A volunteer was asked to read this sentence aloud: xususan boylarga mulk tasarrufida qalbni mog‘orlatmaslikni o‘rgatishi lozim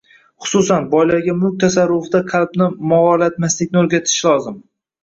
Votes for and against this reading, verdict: 1, 2, rejected